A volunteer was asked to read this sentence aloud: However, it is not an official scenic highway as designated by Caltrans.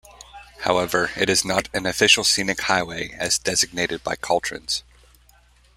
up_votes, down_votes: 0, 2